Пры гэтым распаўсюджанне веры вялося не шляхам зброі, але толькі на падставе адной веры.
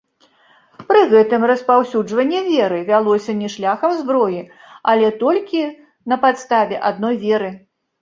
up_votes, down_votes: 0, 2